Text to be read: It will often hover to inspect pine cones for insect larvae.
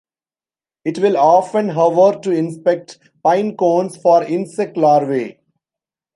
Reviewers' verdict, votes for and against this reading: accepted, 2, 0